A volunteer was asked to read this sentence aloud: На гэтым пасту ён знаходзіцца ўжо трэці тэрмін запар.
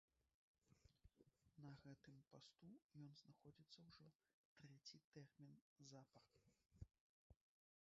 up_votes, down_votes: 1, 2